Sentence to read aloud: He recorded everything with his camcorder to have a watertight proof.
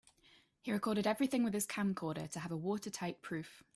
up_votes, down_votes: 2, 0